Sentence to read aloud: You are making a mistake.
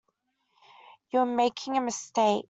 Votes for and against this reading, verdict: 2, 1, accepted